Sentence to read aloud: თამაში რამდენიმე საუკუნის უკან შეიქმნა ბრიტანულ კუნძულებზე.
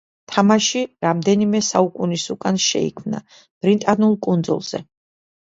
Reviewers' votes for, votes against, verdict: 1, 2, rejected